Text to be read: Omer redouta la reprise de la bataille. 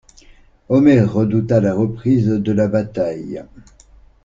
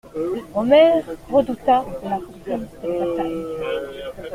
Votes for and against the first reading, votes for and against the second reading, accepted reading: 2, 0, 1, 2, first